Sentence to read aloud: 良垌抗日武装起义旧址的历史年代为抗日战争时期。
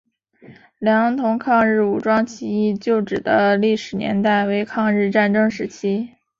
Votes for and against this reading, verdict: 2, 0, accepted